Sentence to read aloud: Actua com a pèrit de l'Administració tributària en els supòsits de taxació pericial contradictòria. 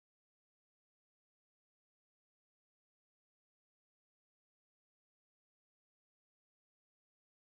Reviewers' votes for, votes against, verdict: 1, 2, rejected